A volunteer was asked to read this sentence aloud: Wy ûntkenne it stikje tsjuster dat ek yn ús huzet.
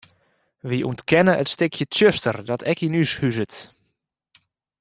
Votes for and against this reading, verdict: 2, 1, accepted